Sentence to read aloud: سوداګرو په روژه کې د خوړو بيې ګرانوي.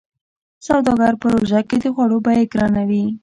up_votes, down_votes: 2, 0